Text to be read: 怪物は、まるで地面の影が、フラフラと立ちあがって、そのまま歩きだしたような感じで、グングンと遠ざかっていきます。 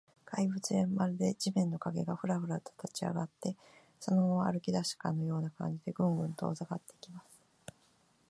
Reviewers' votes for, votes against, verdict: 0, 2, rejected